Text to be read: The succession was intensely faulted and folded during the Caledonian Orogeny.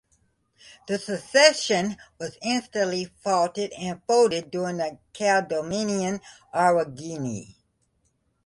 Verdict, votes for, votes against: rejected, 1, 2